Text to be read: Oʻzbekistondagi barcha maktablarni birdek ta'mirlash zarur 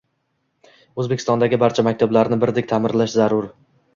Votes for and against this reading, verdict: 1, 2, rejected